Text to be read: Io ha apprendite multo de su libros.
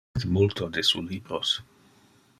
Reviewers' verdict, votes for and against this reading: rejected, 0, 2